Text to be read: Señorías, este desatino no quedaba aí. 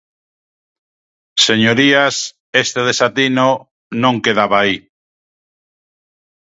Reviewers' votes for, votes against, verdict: 1, 2, rejected